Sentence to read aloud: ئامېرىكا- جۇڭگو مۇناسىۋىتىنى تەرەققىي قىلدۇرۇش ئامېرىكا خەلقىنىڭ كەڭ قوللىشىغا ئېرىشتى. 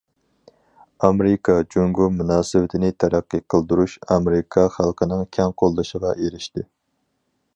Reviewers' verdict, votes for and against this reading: accepted, 4, 0